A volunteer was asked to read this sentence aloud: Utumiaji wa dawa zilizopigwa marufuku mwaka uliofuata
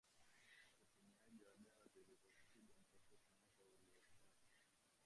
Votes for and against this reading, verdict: 1, 2, rejected